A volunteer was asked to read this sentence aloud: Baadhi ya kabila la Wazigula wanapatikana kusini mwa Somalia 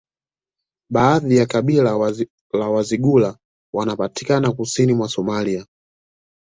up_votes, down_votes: 2, 0